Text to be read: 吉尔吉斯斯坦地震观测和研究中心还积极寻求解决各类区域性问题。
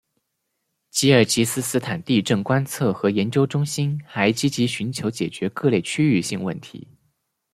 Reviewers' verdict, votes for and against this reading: rejected, 0, 2